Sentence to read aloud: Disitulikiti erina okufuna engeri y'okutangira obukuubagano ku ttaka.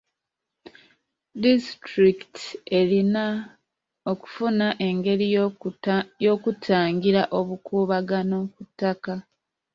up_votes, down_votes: 0, 2